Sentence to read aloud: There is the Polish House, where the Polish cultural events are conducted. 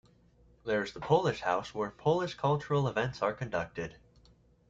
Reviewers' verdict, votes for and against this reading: rejected, 1, 2